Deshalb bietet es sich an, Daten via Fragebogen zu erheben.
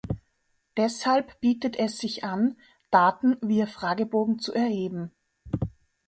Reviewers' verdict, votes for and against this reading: accepted, 2, 0